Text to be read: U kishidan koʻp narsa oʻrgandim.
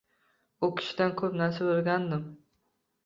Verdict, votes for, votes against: rejected, 0, 2